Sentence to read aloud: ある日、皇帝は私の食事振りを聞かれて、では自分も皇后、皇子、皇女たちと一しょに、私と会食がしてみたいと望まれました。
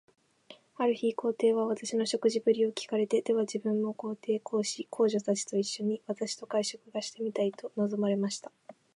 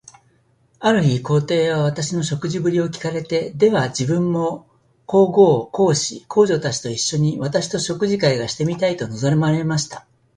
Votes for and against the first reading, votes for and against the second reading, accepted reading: 2, 0, 1, 2, first